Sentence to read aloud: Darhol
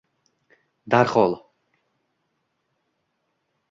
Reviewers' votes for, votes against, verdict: 2, 1, accepted